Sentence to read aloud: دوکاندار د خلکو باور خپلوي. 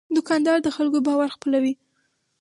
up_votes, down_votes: 2, 2